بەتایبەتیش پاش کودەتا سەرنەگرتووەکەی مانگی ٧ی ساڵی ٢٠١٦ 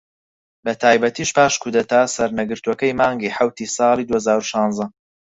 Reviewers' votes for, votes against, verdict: 0, 2, rejected